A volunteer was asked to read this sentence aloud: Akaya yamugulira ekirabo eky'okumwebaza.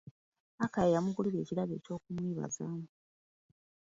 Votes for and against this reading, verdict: 2, 1, accepted